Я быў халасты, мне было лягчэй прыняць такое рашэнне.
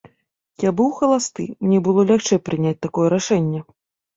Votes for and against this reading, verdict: 2, 0, accepted